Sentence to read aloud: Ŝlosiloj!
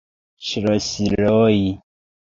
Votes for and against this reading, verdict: 1, 2, rejected